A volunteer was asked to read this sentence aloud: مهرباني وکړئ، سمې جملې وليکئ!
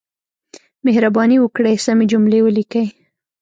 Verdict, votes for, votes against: rejected, 1, 2